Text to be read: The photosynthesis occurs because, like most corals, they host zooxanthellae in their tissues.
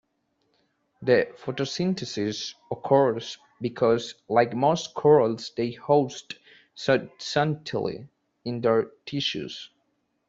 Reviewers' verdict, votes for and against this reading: rejected, 1, 2